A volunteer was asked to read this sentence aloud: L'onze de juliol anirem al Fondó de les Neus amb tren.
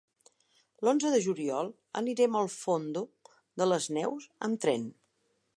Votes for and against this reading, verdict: 0, 2, rejected